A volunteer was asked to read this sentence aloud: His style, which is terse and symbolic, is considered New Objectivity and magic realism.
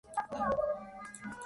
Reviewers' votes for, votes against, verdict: 0, 2, rejected